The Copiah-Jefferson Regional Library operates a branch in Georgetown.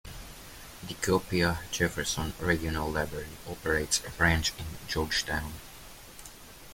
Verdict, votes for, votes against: accepted, 2, 0